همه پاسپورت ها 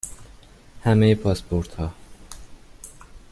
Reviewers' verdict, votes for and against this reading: accepted, 2, 0